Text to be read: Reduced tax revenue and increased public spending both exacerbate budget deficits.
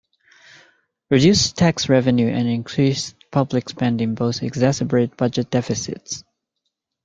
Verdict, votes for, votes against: accepted, 2, 1